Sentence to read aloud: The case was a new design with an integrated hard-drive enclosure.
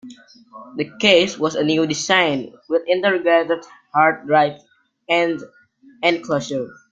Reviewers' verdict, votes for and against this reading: rejected, 0, 2